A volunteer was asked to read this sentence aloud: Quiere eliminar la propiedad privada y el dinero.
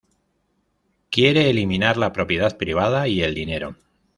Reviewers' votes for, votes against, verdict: 2, 0, accepted